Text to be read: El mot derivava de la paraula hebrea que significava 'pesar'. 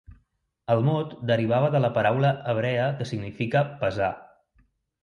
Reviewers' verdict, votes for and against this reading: rejected, 0, 2